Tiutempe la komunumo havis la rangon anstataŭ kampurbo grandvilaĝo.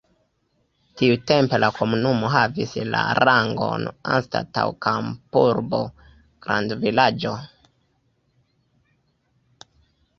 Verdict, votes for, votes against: rejected, 1, 2